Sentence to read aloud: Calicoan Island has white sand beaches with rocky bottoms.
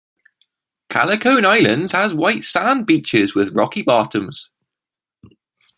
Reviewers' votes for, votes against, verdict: 2, 1, accepted